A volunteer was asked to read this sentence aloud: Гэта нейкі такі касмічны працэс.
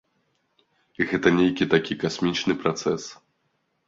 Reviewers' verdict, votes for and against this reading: accepted, 2, 0